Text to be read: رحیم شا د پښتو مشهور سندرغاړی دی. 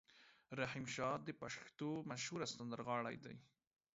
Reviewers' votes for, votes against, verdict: 2, 0, accepted